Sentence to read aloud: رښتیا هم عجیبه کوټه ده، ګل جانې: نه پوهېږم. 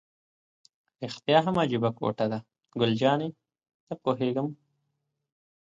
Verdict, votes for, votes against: accepted, 2, 0